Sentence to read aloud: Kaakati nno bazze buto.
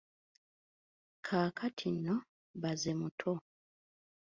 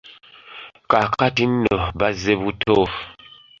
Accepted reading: second